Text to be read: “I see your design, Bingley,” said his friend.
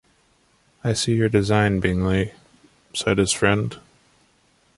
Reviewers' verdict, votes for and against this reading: accepted, 2, 0